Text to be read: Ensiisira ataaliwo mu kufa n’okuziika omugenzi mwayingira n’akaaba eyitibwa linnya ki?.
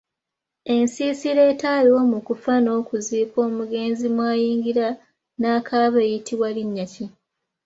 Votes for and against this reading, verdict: 2, 1, accepted